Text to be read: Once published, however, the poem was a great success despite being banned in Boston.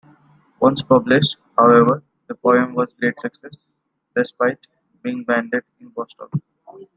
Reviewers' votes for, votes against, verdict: 0, 2, rejected